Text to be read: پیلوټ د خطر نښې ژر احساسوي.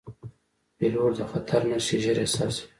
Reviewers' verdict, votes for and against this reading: rejected, 1, 2